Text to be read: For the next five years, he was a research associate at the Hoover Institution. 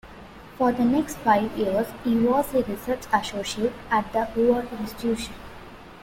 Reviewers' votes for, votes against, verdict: 1, 2, rejected